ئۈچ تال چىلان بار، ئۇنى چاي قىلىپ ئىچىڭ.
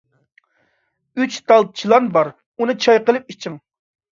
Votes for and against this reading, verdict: 2, 0, accepted